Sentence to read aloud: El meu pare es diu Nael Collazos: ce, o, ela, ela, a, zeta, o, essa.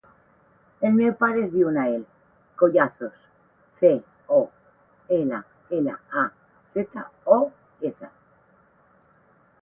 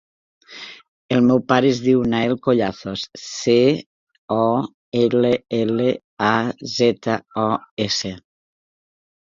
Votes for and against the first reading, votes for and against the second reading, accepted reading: 8, 0, 1, 2, first